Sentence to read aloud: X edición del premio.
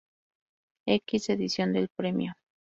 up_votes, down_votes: 2, 2